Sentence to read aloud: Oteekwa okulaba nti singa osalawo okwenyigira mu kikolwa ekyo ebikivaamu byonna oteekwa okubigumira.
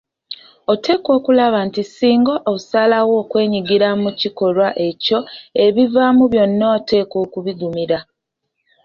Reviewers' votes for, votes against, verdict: 1, 2, rejected